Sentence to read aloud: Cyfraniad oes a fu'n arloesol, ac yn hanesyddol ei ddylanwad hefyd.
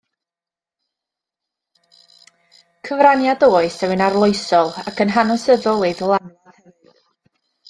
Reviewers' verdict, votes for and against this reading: rejected, 0, 2